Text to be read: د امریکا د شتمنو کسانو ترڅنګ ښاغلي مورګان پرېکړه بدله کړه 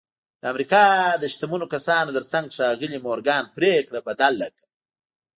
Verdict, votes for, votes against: rejected, 0, 2